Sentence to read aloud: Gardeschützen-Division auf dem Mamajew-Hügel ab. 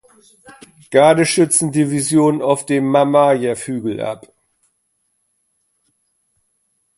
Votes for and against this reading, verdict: 3, 0, accepted